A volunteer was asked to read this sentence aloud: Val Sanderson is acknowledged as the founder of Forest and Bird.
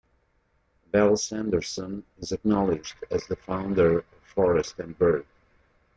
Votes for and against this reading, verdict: 0, 2, rejected